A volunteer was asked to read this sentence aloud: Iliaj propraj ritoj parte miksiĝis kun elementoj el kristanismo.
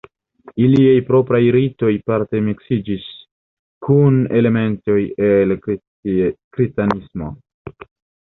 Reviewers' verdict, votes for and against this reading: accepted, 2, 0